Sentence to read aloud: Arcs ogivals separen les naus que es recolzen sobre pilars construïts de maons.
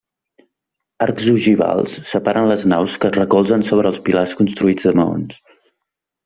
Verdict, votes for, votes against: rejected, 1, 2